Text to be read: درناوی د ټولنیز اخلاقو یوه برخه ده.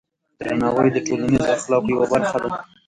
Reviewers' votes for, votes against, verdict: 1, 3, rejected